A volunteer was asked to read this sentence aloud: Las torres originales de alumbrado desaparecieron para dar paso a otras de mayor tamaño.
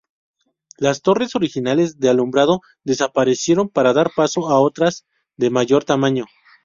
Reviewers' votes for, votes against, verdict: 0, 2, rejected